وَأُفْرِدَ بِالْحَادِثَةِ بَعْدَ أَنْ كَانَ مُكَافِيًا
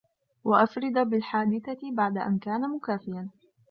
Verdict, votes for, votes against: rejected, 0, 2